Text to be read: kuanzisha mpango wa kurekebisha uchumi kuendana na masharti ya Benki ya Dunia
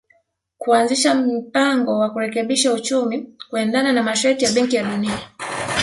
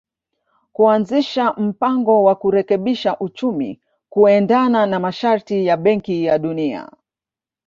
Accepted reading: second